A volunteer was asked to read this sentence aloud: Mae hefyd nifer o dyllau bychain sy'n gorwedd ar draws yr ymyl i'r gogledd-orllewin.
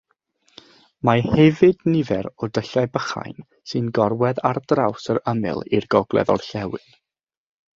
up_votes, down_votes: 3, 3